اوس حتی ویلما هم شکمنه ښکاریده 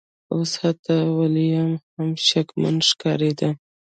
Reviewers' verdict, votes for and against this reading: rejected, 1, 2